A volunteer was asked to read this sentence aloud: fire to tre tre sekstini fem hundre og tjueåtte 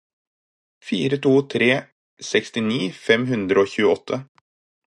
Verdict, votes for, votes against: rejected, 2, 4